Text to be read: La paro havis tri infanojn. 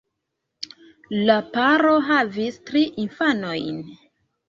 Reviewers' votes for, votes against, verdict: 2, 0, accepted